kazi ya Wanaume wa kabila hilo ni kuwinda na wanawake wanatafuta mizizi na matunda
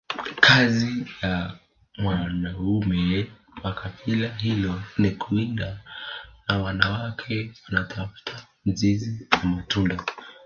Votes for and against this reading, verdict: 1, 2, rejected